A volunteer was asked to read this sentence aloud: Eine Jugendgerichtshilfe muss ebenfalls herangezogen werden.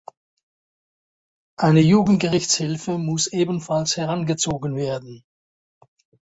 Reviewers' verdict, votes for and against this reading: accepted, 4, 0